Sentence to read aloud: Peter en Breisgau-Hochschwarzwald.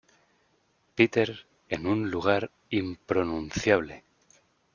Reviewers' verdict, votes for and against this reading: rejected, 1, 3